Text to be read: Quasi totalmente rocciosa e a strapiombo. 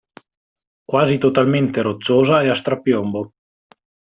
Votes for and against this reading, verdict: 2, 0, accepted